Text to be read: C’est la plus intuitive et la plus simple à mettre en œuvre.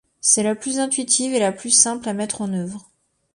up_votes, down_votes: 2, 0